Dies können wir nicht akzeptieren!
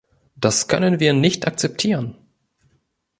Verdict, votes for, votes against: rejected, 1, 2